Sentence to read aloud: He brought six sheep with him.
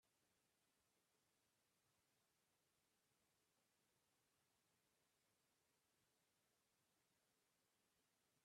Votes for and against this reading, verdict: 1, 2, rejected